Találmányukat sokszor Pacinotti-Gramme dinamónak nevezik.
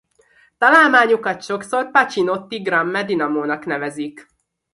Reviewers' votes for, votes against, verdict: 2, 0, accepted